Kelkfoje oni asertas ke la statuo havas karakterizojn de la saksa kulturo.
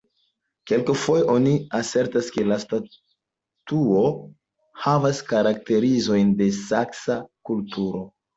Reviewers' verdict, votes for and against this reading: accepted, 2, 1